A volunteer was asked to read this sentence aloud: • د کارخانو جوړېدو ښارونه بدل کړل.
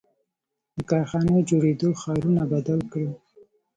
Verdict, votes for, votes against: rejected, 0, 2